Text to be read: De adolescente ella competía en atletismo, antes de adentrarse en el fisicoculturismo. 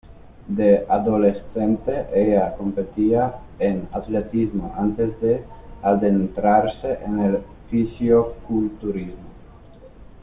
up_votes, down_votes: 1, 2